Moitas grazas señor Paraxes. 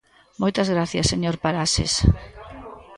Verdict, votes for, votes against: rejected, 1, 2